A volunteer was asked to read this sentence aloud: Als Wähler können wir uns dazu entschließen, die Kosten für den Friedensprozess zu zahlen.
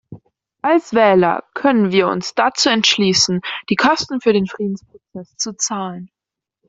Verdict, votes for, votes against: accepted, 2, 1